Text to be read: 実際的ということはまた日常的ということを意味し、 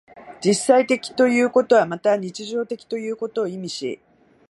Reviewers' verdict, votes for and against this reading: rejected, 0, 2